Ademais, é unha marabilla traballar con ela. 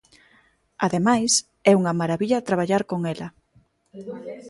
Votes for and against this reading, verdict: 1, 2, rejected